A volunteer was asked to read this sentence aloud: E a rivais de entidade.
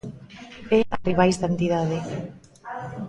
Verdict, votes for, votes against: rejected, 0, 2